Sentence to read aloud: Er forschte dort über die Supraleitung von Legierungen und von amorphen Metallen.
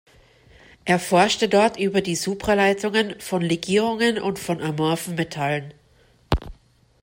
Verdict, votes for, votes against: rejected, 0, 2